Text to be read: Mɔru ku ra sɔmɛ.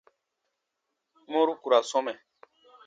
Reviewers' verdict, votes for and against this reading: accepted, 2, 0